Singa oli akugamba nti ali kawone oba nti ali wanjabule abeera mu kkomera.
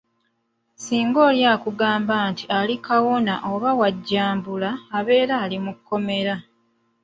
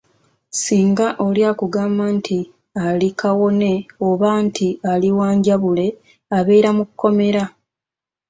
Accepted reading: second